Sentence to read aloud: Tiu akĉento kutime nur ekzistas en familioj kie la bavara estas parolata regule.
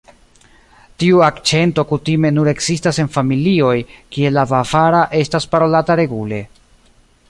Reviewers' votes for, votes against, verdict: 2, 1, accepted